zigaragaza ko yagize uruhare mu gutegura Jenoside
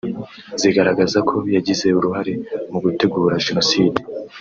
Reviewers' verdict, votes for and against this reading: accepted, 3, 0